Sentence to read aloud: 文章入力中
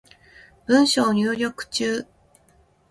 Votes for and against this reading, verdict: 2, 0, accepted